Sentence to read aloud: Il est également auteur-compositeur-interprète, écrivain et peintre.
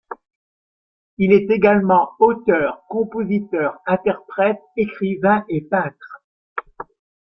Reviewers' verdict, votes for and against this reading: accepted, 2, 0